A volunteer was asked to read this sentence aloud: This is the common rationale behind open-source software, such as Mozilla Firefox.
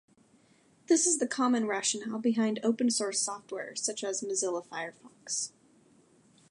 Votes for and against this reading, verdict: 2, 0, accepted